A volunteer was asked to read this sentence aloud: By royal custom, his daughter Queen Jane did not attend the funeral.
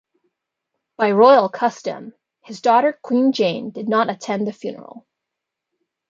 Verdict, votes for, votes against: accepted, 2, 0